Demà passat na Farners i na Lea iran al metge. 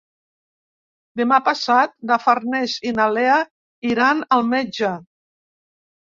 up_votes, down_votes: 3, 0